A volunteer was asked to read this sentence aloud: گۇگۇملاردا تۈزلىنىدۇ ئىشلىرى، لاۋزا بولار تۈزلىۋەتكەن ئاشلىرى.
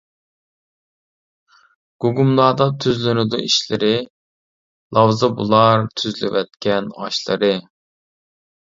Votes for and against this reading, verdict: 1, 2, rejected